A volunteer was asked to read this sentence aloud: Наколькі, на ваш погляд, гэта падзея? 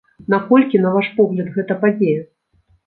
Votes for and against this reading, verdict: 2, 0, accepted